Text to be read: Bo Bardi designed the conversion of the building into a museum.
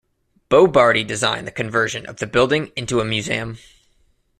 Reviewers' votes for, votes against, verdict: 2, 0, accepted